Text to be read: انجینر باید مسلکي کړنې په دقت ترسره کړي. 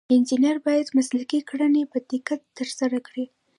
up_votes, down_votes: 1, 2